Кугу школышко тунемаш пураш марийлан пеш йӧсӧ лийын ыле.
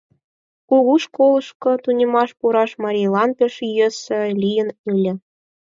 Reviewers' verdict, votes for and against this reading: accepted, 4, 2